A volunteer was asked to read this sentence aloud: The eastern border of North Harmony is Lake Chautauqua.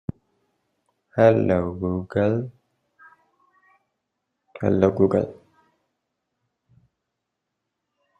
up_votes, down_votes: 0, 2